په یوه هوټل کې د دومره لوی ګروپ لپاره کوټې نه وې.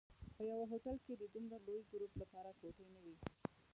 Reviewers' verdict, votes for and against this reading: rejected, 0, 2